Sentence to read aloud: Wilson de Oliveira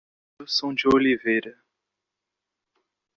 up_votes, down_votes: 0, 3